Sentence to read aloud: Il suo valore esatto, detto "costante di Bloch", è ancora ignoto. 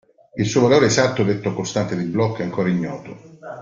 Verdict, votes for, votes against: accepted, 2, 1